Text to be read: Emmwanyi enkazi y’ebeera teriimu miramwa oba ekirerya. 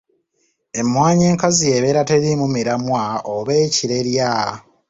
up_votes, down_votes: 2, 0